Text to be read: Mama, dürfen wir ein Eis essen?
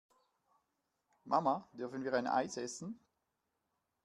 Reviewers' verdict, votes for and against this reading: accepted, 2, 0